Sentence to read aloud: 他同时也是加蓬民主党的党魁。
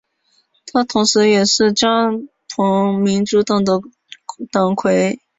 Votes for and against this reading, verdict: 2, 0, accepted